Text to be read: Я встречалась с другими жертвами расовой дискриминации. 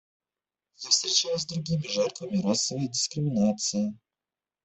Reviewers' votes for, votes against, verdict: 1, 2, rejected